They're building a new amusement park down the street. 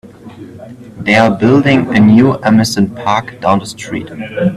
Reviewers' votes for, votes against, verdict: 1, 2, rejected